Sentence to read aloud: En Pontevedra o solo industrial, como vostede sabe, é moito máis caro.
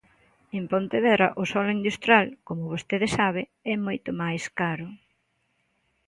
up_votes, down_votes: 2, 0